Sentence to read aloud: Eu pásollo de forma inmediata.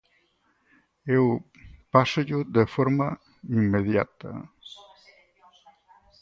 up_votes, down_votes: 4, 2